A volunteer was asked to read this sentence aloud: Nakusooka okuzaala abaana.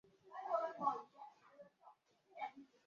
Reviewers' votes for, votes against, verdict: 1, 2, rejected